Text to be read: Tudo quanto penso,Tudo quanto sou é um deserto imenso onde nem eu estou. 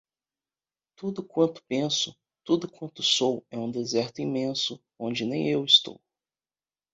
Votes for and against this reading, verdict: 2, 0, accepted